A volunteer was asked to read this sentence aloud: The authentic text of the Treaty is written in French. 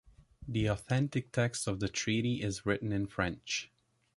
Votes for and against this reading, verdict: 2, 0, accepted